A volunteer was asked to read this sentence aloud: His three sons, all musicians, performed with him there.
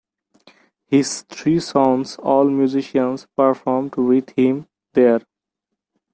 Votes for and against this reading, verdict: 2, 0, accepted